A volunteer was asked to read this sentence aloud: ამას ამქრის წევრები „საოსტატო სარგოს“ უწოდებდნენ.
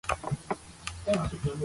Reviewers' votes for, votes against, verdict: 0, 2, rejected